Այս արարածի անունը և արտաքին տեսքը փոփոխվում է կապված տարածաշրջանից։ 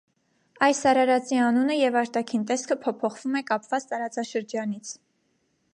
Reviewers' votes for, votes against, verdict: 2, 0, accepted